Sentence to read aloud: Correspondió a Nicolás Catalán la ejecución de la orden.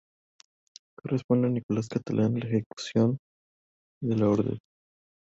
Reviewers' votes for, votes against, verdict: 0, 2, rejected